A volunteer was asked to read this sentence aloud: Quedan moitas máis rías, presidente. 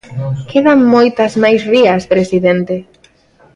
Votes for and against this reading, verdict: 2, 0, accepted